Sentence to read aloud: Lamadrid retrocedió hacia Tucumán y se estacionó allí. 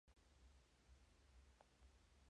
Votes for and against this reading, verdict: 0, 2, rejected